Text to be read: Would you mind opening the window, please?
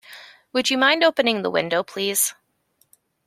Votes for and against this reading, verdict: 2, 0, accepted